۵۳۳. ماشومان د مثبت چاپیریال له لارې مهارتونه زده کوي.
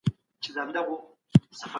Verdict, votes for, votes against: rejected, 0, 2